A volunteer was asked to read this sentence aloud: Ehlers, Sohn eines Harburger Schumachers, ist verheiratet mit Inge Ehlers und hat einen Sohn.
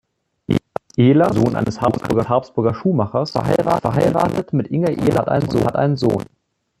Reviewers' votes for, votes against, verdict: 0, 3, rejected